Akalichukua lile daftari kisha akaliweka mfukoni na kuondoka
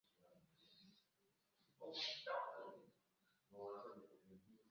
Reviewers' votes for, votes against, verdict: 0, 2, rejected